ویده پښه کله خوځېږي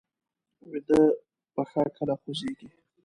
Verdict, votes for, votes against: accepted, 2, 0